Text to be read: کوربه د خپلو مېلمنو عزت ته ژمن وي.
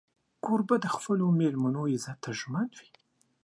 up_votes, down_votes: 2, 0